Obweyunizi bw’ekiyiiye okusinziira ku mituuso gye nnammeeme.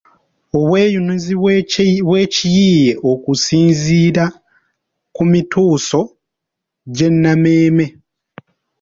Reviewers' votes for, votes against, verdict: 3, 1, accepted